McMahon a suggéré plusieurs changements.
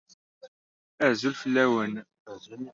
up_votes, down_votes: 0, 2